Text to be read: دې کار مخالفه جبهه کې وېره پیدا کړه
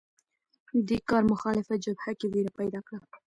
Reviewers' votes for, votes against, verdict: 2, 0, accepted